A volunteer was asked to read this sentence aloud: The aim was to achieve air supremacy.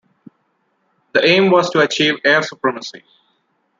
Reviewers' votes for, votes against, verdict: 2, 0, accepted